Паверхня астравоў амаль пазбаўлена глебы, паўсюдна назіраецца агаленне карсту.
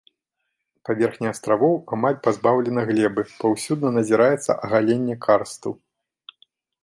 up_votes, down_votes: 2, 0